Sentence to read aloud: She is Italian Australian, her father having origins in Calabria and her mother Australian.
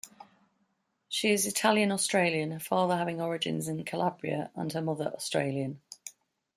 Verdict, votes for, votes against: rejected, 1, 2